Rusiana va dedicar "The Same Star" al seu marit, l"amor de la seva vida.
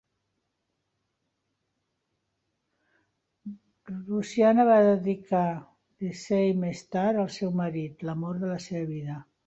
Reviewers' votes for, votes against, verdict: 4, 2, accepted